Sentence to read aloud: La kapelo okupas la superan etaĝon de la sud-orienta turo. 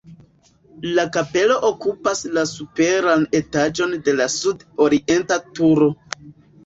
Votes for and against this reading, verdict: 2, 1, accepted